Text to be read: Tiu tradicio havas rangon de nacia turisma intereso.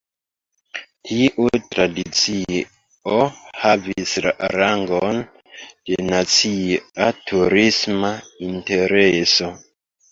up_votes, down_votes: 1, 3